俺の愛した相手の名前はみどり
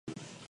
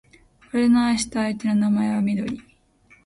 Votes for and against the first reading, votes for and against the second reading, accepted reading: 0, 2, 2, 0, second